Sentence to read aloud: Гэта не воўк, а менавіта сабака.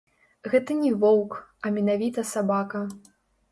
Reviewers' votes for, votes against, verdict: 0, 3, rejected